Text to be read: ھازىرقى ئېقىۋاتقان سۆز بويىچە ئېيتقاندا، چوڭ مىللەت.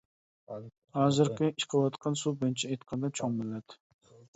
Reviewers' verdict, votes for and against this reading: rejected, 0, 2